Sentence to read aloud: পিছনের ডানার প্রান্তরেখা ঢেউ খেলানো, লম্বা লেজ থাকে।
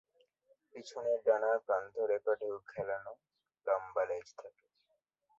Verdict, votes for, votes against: rejected, 0, 2